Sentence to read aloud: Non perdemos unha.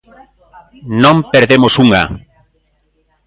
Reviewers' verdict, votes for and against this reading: accepted, 2, 1